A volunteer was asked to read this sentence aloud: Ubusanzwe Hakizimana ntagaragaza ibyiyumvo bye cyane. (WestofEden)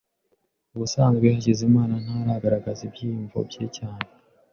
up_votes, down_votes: 2, 1